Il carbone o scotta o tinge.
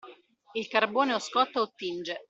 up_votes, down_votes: 2, 0